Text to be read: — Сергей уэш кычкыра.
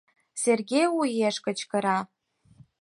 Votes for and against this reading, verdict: 4, 2, accepted